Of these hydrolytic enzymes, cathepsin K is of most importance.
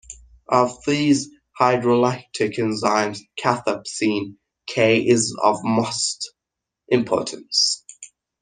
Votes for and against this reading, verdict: 1, 2, rejected